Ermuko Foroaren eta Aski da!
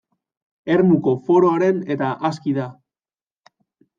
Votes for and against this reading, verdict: 2, 0, accepted